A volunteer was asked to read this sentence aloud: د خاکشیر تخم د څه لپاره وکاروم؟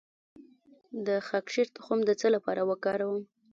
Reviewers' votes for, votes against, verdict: 1, 2, rejected